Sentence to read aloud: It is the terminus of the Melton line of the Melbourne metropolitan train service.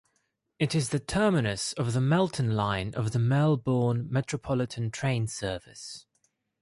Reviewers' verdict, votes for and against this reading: accepted, 2, 0